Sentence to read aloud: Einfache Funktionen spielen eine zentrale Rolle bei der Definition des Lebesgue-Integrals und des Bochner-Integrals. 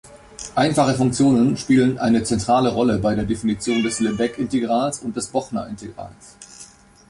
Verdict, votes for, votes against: accepted, 2, 0